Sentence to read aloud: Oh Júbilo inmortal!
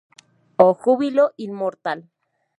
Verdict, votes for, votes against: accepted, 2, 0